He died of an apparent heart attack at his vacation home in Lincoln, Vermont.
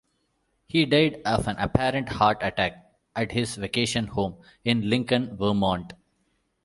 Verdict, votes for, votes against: accepted, 2, 0